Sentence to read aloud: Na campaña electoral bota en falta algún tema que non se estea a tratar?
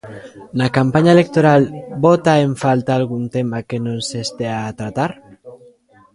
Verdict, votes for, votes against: rejected, 0, 2